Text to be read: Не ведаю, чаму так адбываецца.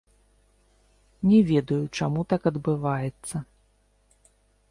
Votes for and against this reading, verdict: 0, 2, rejected